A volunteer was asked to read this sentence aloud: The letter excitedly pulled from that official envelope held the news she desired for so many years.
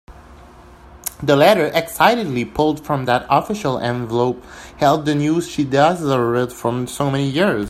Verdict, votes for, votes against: rejected, 0, 2